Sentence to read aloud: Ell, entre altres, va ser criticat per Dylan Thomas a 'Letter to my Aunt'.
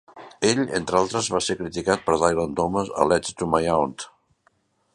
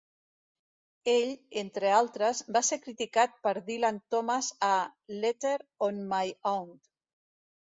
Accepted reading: first